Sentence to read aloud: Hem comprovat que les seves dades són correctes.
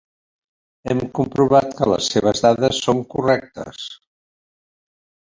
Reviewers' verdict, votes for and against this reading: rejected, 1, 2